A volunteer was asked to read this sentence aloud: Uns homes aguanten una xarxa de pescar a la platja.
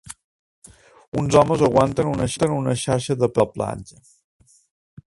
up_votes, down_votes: 0, 2